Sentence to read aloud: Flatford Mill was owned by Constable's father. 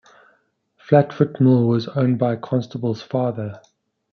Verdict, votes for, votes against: accepted, 2, 0